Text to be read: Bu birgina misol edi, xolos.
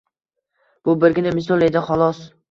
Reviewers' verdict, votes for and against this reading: accepted, 2, 0